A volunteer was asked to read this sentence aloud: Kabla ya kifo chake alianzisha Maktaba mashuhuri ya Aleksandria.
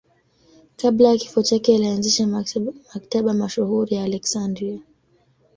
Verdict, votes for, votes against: accepted, 2, 0